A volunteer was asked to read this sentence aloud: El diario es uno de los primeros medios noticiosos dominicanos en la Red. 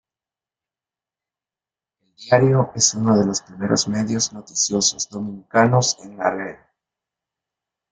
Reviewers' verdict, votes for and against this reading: rejected, 0, 2